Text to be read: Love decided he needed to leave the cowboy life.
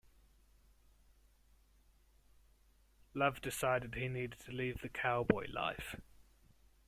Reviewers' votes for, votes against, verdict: 2, 0, accepted